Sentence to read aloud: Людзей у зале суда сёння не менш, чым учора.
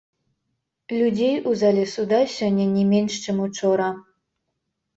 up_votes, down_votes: 0, 3